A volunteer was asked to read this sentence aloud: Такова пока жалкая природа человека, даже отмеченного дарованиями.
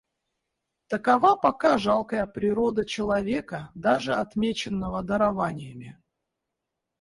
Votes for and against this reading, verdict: 2, 4, rejected